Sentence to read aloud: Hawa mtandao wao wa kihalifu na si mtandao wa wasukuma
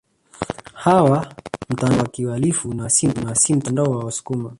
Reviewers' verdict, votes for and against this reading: rejected, 0, 2